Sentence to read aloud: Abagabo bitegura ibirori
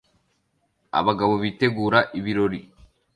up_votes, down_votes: 2, 0